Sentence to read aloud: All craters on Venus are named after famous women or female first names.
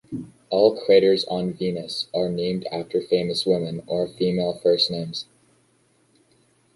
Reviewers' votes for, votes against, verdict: 2, 0, accepted